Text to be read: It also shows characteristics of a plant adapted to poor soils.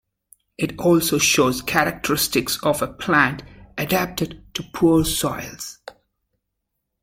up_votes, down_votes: 3, 0